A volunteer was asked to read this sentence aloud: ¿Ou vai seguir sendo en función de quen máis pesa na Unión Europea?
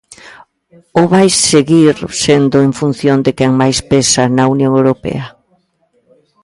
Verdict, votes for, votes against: rejected, 1, 2